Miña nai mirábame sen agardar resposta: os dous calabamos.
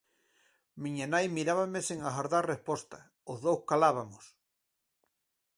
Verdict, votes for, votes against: rejected, 2, 4